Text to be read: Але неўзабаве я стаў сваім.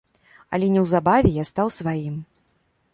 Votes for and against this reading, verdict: 2, 0, accepted